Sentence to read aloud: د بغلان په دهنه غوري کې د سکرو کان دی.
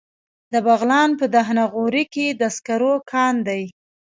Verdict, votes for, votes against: rejected, 1, 2